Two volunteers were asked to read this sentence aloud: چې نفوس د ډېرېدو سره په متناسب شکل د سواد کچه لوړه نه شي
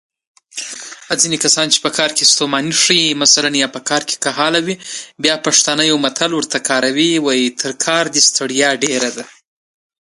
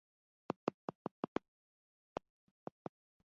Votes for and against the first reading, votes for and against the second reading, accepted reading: 2, 1, 0, 2, first